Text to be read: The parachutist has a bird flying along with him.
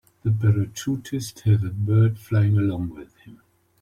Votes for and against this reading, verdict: 2, 1, accepted